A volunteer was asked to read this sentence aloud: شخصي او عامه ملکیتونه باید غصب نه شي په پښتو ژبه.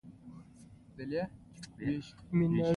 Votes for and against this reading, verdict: 2, 0, accepted